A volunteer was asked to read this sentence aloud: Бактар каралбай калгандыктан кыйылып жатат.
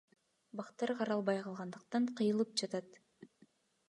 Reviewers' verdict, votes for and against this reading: accepted, 2, 0